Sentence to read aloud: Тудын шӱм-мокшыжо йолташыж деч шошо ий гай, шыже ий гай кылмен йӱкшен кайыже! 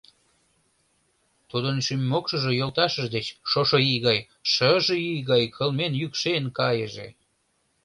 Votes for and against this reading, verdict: 2, 0, accepted